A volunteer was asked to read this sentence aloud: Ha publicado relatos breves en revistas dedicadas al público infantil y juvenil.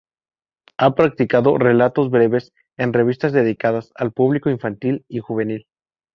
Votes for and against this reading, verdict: 2, 2, rejected